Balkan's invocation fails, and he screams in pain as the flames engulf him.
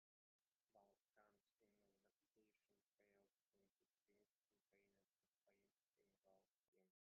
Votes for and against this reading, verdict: 0, 2, rejected